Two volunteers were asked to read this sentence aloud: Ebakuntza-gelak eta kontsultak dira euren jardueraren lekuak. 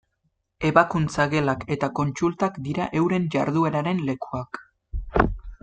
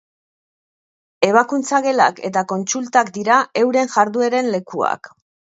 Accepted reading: first